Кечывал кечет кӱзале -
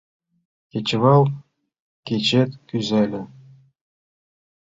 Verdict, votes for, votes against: accepted, 2, 1